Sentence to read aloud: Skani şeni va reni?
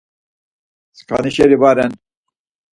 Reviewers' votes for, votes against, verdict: 2, 4, rejected